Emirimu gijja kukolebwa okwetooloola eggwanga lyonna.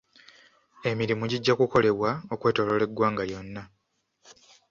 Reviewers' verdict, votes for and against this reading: accepted, 2, 0